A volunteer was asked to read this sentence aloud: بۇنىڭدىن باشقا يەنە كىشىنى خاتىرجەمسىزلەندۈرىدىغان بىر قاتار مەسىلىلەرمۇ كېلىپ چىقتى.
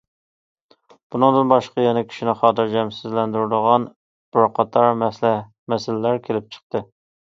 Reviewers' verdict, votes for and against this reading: rejected, 0, 2